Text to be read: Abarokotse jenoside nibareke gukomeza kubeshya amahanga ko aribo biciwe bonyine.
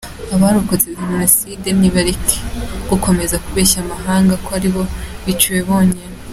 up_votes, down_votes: 2, 0